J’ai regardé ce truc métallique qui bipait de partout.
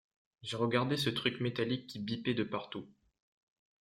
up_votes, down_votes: 2, 0